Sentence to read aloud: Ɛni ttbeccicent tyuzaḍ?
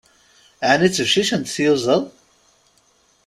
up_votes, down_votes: 2, 0